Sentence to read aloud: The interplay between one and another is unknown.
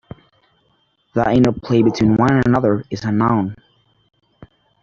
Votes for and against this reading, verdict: 1, 2, rejected